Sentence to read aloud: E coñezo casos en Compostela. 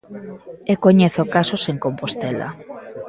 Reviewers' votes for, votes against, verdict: 1, 2, rejected